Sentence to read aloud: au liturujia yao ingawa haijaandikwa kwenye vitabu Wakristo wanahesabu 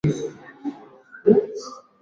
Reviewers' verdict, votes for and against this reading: rejected, 0, 2